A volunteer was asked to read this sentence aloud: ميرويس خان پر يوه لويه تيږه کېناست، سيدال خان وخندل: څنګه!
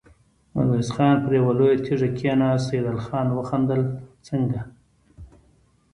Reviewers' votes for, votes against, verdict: 3, 0, accepted